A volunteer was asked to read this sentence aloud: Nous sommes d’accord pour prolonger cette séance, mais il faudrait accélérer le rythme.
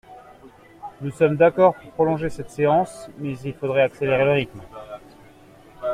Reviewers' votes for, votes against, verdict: 2, 1, accepted